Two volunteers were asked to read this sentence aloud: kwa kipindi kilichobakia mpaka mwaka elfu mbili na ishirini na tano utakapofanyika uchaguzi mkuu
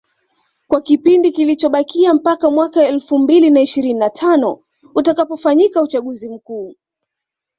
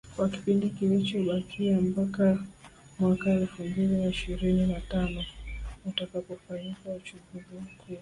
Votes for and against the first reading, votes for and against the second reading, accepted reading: 2, 0, 0, 2, first